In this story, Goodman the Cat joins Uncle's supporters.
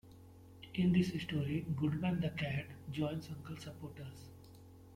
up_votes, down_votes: 1, 2